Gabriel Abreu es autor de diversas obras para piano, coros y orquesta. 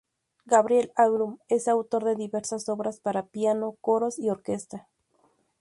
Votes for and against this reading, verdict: 2, 0, accepted